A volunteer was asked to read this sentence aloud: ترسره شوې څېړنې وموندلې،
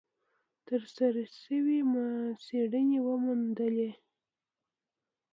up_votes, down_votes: 0, 2